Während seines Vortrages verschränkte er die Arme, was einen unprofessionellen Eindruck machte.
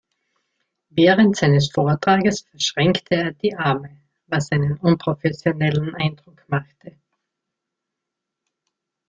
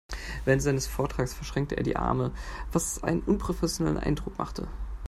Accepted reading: second